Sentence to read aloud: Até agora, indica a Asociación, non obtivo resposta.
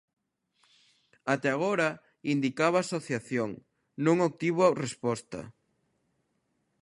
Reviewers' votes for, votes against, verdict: 0, 2, rejected